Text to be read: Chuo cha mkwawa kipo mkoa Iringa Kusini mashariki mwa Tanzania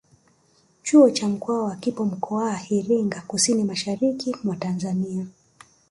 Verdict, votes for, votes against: rejected, 0, 3